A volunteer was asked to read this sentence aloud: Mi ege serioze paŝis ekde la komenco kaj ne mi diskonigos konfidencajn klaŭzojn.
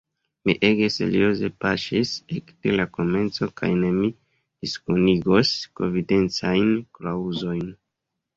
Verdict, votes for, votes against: accepted, 2, 0